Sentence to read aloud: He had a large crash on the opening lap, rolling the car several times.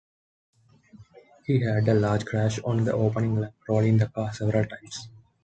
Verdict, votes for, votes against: accepted, 2, 0